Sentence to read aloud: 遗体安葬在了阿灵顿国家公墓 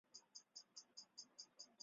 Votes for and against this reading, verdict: 0, 2, rejected